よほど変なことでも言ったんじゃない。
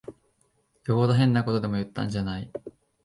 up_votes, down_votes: 2, 0